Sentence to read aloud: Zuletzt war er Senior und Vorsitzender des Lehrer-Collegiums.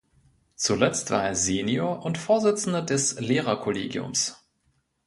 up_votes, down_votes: 2, 0